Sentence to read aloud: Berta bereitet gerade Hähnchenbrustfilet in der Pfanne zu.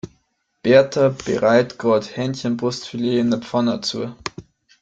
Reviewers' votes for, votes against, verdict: 1, 2, rejected